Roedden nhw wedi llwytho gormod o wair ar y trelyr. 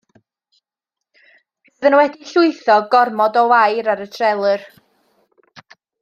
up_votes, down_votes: 0, 2